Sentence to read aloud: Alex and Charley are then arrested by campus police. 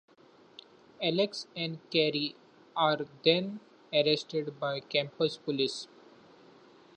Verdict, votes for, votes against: rejected, 0, 2